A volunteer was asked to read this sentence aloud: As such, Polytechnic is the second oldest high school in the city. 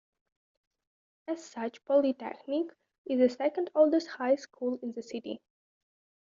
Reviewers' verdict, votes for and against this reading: accepted, 2, 0